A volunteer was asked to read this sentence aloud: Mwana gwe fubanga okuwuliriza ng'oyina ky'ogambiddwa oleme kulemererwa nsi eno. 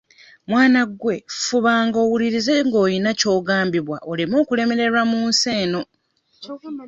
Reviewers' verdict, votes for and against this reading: rejected, 1, 2